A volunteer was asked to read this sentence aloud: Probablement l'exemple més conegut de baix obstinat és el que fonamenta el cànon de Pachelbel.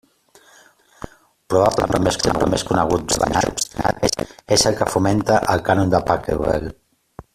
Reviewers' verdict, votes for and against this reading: rejected, 0, 2